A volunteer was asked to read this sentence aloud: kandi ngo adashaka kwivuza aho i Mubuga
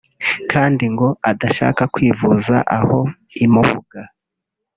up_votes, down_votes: 1, 2